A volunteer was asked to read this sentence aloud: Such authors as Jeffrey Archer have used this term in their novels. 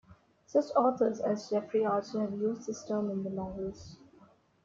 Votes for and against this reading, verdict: 2, 1, accepted